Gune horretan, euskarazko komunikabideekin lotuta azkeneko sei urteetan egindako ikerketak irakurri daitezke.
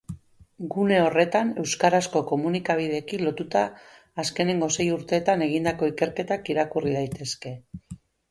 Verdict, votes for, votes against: rejected, 2, 6